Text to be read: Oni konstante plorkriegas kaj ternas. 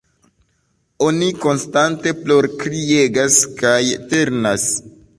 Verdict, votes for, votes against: accepted, 2, 1